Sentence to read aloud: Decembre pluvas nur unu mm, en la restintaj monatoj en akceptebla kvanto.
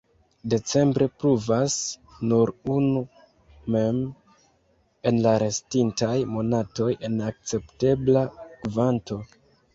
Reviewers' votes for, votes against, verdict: 0, 3, rejected